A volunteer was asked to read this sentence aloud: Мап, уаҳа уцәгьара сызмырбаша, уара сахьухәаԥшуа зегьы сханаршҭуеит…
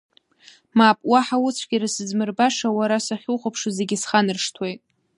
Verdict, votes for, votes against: accepted, 2, 0